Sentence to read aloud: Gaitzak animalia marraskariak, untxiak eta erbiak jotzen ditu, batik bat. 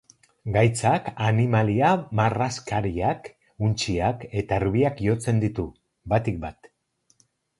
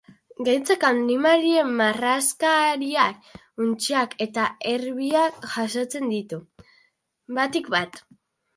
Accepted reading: first